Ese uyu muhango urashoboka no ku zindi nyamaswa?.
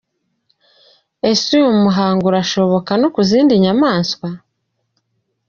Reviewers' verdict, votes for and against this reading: accepted, 2, 0